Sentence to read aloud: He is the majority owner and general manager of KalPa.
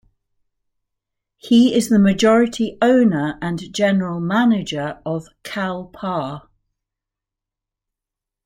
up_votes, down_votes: 2, 1